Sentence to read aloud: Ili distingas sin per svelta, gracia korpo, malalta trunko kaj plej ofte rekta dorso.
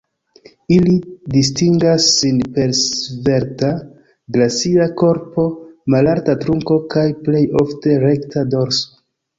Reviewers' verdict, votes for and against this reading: rejected, 1, 2